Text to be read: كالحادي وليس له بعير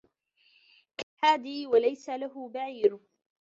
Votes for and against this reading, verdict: 1, 2, rejected